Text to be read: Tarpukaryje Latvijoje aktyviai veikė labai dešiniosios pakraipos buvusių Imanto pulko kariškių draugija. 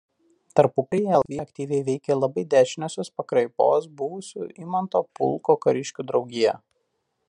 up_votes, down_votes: 1, 2